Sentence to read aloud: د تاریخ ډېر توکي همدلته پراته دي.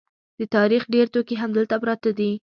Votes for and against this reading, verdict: 2, 0, accepted